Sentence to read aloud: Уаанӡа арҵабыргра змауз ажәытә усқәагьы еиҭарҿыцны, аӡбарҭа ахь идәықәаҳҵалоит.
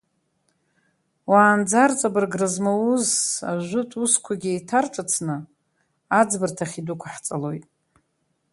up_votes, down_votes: 1, 3